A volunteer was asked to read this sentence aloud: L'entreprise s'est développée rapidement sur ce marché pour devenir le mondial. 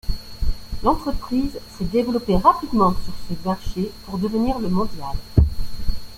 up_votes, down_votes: 0, 2